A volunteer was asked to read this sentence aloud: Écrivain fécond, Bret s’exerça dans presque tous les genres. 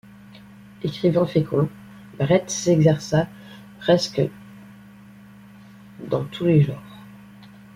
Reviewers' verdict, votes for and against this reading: rejected, 1, 2